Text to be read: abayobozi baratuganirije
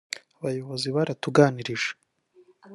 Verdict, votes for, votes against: rejected, 1, 2